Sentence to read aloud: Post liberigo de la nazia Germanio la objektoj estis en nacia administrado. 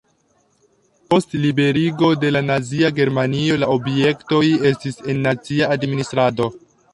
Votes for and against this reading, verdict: 2, 1, accepted